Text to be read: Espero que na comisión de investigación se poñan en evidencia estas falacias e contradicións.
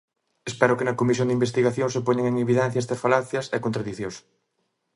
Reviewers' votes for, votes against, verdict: 2, 0, accepted